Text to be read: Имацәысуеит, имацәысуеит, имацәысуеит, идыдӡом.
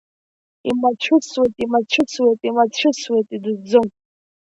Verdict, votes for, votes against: accepted, 2, 1